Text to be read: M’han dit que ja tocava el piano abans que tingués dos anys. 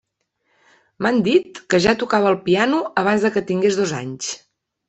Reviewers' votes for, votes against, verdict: 0, 2, rejected